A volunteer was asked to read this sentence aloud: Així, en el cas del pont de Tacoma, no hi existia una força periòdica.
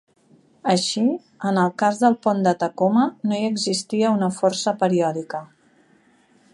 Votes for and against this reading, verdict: 4, 0, accepted